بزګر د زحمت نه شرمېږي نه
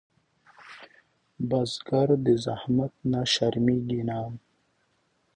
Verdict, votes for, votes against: accepted, 2, 0